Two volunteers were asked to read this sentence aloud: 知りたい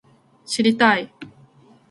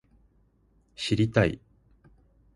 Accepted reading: second